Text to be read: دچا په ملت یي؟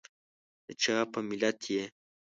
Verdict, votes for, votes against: accepted, 2, 0